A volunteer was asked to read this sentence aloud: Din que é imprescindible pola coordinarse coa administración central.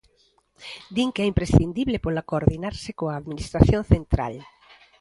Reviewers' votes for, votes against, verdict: 2, 0, accepted